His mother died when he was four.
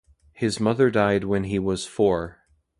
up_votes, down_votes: 2, 0